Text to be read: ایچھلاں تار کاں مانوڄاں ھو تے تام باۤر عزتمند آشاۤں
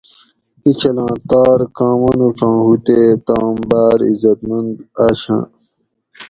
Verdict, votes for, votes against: accepted, 4, 0